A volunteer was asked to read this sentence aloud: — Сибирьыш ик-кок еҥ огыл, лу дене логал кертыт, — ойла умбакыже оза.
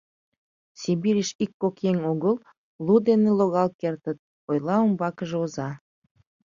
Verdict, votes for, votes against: accepted, 2, 0